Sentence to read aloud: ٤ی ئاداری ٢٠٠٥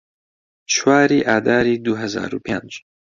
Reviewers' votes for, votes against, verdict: 0, 2, rejected